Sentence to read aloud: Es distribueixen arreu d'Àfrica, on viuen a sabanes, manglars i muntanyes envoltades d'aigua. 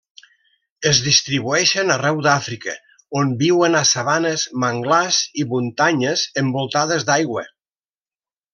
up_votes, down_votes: 2, 0